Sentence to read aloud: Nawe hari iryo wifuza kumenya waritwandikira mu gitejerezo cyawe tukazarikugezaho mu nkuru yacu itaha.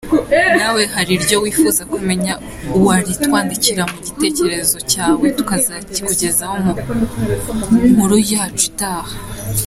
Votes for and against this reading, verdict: 2, 0, accepted